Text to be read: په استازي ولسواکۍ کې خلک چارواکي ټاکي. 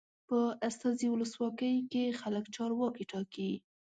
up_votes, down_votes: 2, 0